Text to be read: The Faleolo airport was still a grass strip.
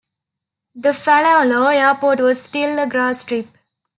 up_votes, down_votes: 2, 0